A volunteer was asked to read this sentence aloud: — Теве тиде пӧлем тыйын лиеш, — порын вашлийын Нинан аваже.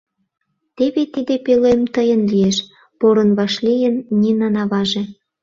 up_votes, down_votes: 2, 0